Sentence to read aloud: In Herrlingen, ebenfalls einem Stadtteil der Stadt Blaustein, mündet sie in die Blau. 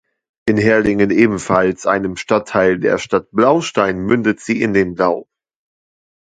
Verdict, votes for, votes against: rejected, 0, 2